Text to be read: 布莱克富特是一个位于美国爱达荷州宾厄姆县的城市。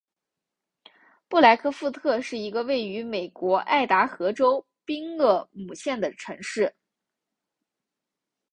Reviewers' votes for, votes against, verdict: 2, 0, accepted